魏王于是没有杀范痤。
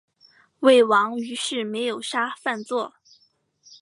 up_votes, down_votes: 5, 0